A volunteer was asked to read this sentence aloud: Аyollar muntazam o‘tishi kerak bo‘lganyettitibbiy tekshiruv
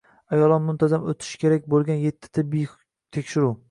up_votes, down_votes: 0, 2